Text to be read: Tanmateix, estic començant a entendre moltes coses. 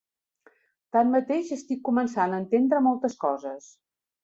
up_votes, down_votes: 3, 0